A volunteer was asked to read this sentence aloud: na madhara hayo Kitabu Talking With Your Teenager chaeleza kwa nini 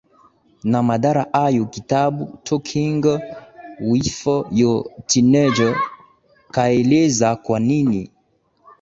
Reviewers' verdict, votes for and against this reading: rejected, 0, 2